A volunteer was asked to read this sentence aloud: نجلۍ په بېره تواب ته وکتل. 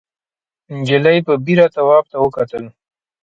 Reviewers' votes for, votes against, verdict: 2, 0, accepted